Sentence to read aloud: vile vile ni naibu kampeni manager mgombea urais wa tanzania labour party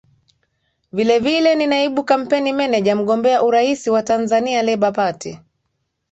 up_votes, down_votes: 2, 0